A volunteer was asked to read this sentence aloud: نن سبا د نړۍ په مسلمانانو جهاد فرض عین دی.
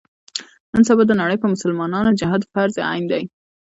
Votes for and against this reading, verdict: 1, 2, rejected